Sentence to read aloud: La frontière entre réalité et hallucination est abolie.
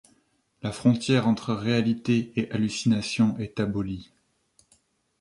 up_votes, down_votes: 2, 0